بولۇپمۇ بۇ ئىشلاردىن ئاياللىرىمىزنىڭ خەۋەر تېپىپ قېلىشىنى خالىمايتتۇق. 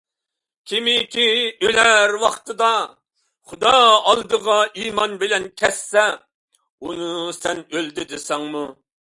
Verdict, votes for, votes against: rejected, 0, 2